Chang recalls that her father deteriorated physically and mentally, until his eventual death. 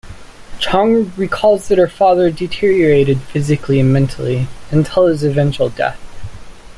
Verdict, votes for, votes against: accepted, 2, 1